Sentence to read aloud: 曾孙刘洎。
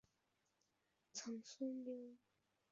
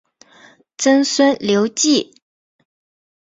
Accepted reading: second